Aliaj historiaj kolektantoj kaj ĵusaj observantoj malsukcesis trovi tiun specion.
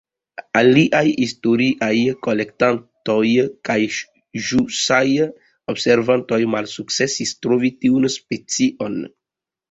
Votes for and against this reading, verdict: 0, 2, rejected